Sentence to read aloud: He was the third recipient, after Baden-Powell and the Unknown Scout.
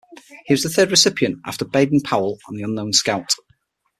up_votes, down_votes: 6, 0